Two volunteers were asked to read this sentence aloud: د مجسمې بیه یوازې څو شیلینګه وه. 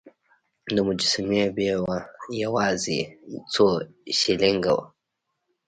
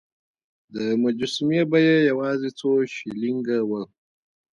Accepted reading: second